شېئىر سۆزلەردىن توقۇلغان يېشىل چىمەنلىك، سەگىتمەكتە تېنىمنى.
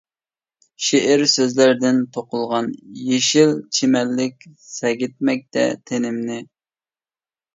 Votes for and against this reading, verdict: 2, 0, accepted